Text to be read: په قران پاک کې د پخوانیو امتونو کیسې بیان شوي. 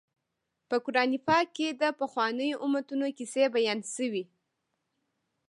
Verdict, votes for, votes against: accepted, 2, 0